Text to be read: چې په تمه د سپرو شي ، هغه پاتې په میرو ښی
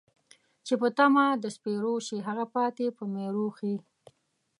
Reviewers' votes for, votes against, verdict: 2, 0, accepted